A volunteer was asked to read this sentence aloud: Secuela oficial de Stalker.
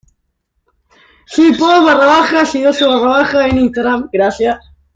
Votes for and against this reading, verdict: 0, 2, rejected